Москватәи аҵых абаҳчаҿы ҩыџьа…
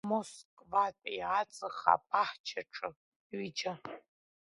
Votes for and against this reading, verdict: 0, 2, rejected